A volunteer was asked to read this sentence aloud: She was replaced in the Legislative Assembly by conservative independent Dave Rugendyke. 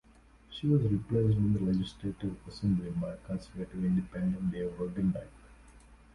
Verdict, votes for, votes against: rejected, 1, 2